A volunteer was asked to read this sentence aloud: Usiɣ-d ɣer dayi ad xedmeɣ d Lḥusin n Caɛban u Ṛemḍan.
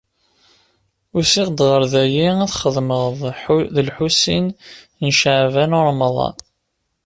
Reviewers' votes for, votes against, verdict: 1, 2, rejected